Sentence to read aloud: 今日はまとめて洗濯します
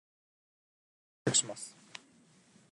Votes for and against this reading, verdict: 0, 2, rejected